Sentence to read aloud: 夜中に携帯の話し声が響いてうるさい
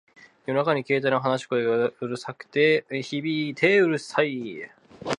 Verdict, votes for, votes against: rejected, 1, 4